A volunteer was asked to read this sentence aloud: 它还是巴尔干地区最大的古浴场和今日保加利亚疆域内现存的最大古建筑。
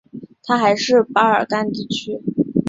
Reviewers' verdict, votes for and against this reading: rejected, 0, 3